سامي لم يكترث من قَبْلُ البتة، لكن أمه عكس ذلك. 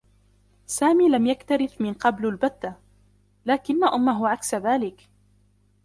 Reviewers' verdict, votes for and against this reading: rejected, 0, 2